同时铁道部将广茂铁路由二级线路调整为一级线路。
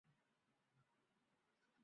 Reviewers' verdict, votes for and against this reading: rejected, 0, 3